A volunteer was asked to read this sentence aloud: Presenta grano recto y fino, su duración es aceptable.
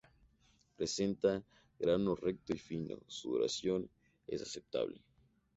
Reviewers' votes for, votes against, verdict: 2, 0, accepted